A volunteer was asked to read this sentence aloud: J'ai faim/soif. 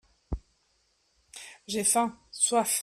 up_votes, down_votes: 2, 0